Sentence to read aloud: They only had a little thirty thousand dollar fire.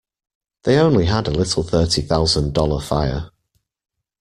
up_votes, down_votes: 2, 0